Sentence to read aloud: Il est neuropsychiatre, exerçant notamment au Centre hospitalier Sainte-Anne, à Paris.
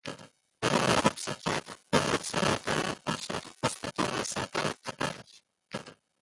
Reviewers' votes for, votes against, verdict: 0, 2, rejected